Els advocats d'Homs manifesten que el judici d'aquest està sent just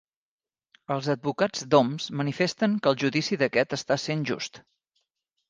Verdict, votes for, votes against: accepted, 3, 0